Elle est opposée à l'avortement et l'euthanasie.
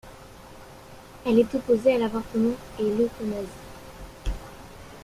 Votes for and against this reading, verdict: 2, 0, accepted